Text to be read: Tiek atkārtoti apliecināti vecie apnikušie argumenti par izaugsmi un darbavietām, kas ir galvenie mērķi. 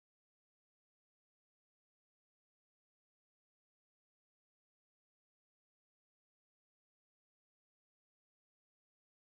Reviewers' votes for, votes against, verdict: 0, 2, rejected